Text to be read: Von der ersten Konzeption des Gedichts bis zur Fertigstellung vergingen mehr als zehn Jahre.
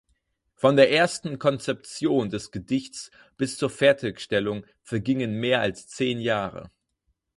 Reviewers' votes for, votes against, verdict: 4, 0, accepted